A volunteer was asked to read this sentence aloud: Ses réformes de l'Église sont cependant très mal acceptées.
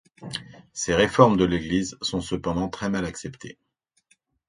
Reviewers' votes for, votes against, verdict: 2, 0, accepted